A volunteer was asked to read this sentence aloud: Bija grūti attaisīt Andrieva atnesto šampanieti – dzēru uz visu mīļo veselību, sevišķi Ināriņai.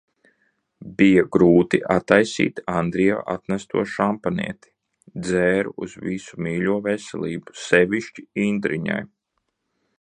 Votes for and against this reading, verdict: 0, 2, rejected